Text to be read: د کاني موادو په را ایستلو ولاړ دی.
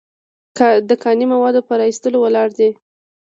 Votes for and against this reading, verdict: 2, 0, accepted